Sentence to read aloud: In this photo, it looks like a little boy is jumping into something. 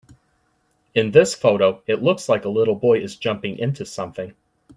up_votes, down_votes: 2, 0